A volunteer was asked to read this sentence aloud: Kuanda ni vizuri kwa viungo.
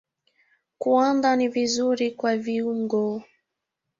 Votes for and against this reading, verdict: 2, 1, accepted